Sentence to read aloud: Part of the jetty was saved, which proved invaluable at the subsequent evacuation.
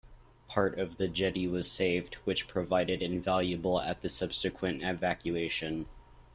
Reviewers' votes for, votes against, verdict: 1, 2, rejected